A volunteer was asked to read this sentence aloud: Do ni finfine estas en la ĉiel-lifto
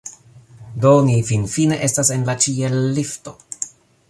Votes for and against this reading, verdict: 2, 0, accepted